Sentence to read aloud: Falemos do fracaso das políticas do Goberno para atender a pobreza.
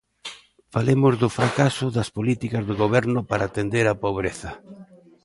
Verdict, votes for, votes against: accepted, 2, 0